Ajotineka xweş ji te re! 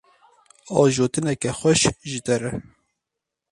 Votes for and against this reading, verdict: 0, 2, rejected